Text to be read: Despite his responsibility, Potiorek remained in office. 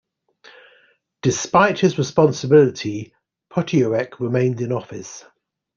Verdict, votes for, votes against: accepted, 2, 0